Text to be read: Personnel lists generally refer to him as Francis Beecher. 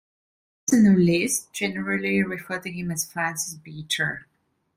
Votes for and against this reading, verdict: 0, 2, rejected